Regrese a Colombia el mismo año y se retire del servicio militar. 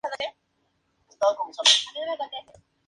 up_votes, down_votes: 2, 0